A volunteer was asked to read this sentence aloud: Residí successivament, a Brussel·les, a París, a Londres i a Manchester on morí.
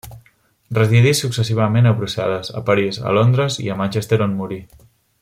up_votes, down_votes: 1, 2